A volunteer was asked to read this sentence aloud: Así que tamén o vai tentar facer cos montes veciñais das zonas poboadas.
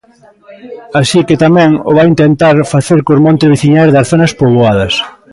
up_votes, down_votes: 0, 2